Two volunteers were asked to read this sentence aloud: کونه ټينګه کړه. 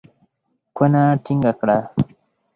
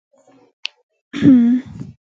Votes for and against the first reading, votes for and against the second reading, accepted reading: 4, 0, 0, 2, first